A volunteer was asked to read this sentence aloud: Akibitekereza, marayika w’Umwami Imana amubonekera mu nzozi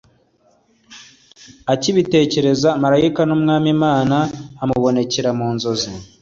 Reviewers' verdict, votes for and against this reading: accepted, 2, 1